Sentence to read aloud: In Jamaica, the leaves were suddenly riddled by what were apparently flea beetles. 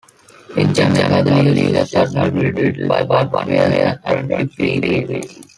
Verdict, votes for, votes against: rejected, 0, 2